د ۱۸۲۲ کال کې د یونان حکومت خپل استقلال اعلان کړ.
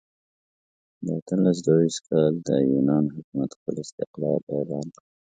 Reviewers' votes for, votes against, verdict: 0, 2, rejected